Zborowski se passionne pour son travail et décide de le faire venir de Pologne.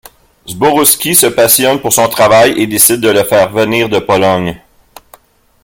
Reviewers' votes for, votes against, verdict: 3, 0, accepted